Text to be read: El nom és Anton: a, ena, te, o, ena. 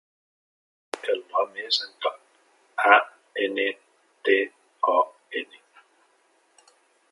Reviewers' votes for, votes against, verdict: 2, 1, accepted